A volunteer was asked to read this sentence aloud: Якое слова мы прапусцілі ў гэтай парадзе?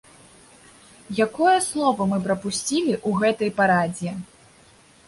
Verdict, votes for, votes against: accepted, 2, 0